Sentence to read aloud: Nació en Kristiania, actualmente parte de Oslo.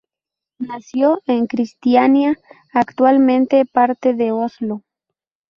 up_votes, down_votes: 2, 0